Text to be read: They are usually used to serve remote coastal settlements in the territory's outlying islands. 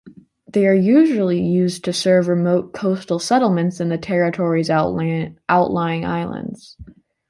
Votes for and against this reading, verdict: 0, 2, rejected